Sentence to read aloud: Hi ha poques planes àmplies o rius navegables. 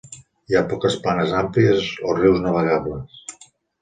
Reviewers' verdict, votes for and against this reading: accepted, 2, 0